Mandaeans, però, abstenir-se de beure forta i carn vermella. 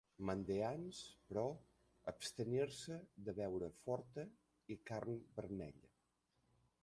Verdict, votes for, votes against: rejected, 0, 2